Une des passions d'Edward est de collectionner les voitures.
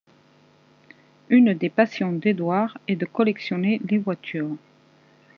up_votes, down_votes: 2, 0